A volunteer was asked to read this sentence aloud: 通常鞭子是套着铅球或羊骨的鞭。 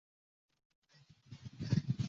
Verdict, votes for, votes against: rejected, 0, 2